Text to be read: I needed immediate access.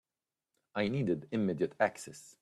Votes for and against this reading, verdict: 1, 2, rejected